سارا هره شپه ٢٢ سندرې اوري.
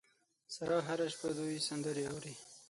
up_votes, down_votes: 0, 2